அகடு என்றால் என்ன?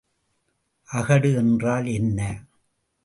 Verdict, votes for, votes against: accepted, 2, 0